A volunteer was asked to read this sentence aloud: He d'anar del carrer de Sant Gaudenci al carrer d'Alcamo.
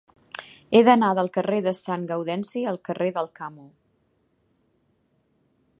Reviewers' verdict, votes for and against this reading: accepted, 2, 0